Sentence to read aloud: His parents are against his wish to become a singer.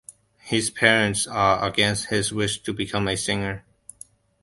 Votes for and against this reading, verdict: 2, 0, accepted